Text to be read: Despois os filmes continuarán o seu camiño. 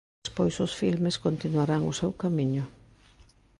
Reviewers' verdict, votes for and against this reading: accepted, 3, 0